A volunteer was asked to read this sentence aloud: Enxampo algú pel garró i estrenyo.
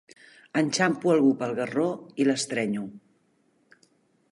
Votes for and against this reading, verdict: 1, 2, rejected